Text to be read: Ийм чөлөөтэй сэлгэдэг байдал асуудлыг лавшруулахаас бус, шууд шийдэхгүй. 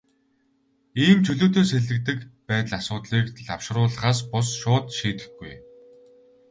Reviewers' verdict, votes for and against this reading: rejected, 2, 2